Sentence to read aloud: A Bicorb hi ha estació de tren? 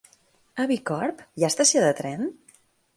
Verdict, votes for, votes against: rejected, 0, 2